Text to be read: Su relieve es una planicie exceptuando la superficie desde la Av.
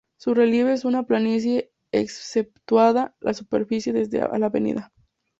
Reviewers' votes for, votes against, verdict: 0, 2, rejected